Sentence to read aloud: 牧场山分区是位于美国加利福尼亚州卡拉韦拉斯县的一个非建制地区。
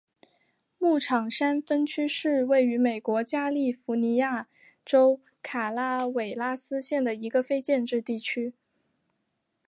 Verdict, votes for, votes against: accepted, 2, 0